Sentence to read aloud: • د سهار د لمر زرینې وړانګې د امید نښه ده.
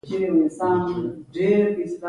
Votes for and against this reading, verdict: 2, 0, accepted